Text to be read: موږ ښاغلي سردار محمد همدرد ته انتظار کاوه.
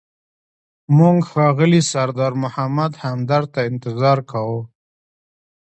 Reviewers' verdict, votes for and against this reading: accepted, 2, 1